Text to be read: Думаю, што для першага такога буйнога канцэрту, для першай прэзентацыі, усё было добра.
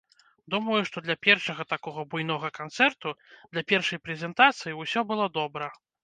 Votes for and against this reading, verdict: 2, 0, accepted